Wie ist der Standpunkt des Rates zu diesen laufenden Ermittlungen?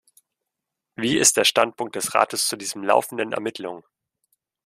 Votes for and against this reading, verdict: 2, 1, accepted